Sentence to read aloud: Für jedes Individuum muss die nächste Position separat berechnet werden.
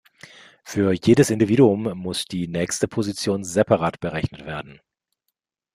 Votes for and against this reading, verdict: 2, 0, accepted